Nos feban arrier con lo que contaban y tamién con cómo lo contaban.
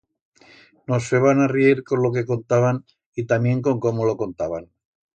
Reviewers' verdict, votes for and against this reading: accepted, 2, 0